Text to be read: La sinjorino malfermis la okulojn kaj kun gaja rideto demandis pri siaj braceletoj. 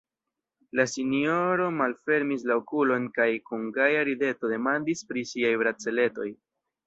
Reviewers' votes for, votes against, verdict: 1, 2, rejected